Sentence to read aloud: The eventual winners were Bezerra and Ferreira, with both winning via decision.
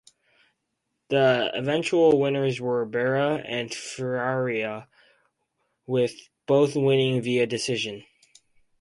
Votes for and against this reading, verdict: 0, 2, rejected